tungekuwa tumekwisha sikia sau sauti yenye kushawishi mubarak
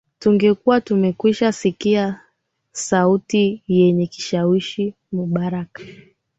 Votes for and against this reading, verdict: 1, 2, rejected